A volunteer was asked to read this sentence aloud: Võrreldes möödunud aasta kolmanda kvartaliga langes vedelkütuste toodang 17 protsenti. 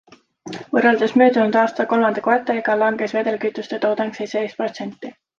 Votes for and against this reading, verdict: 0, 2, rejected